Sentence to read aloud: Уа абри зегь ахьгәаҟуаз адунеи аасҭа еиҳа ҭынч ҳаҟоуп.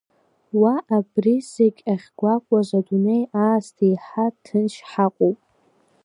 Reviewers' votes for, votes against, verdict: 2, 0, accepted